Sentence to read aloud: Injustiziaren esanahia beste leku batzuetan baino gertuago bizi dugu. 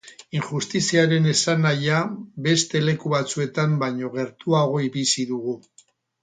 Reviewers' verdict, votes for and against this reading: rejected, 2, 6